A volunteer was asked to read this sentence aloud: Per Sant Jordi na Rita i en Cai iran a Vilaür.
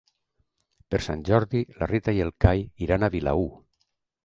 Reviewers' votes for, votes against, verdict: 1, 2, rejected